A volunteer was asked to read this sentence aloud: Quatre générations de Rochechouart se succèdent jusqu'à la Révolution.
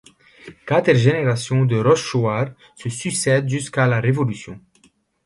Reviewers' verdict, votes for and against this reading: rejected, 1, 2